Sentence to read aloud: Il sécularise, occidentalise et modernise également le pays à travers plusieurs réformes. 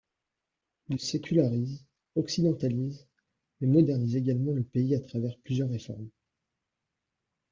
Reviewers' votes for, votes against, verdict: 0, 2, rejected